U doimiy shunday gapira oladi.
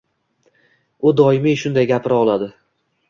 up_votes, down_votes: 2, 0